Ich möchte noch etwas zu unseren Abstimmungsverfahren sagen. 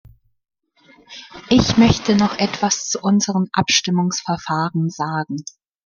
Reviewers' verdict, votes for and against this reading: rejected, 1, 2